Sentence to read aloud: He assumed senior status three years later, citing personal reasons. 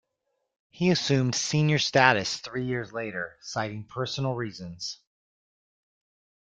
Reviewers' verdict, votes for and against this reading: accepted, 2, 1